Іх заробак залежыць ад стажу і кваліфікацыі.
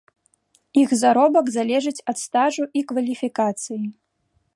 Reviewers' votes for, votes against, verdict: 2, 0, accepted